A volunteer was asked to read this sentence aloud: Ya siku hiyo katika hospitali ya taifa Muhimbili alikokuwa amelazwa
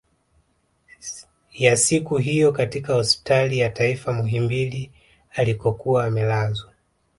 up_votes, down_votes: 2, 0